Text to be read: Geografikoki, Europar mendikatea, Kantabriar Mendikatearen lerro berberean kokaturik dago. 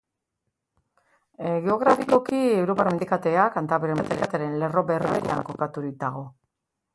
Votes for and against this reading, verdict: 0, 2, rejected